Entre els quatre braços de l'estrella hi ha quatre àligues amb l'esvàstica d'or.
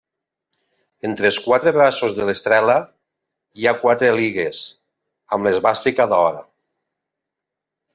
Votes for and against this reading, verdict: 0, 3, rejected